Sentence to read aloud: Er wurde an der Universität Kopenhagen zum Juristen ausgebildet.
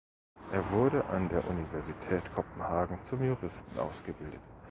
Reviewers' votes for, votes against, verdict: 2, 1, accepted